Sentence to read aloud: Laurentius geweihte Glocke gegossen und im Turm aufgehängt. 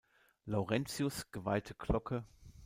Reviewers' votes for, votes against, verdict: 0, 2, rejected